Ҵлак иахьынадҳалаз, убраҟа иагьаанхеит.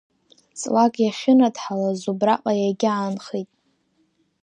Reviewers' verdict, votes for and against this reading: rejected, 1, 2